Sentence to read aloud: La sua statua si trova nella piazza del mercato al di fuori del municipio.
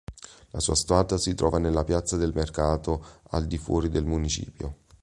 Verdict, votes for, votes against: accepted, 4, 0